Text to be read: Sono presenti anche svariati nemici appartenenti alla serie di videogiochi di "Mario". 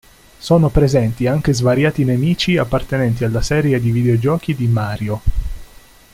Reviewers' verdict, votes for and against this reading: accepted, 2, 0